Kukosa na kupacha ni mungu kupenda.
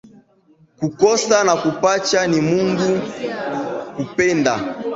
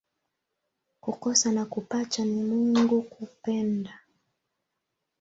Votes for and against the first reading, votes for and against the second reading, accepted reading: 1, 3, 2, 0, second